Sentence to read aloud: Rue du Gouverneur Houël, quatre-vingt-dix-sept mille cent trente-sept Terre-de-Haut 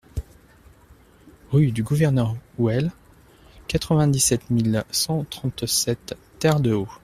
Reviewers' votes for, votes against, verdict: 2, 1, accepted